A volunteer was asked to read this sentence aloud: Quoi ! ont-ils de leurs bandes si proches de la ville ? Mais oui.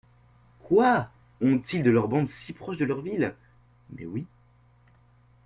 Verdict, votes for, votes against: rejected, 0, 2